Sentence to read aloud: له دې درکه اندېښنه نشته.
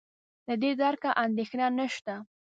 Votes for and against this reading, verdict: 1, 2, rejected